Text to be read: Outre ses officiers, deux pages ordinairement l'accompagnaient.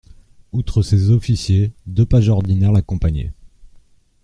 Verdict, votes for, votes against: rejected, 0, 2